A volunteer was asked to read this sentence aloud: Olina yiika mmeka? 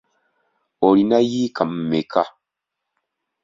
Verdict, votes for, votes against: accepted, 2, 0